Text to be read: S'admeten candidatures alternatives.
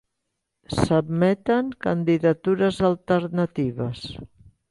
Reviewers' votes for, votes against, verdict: 3, 0, accepted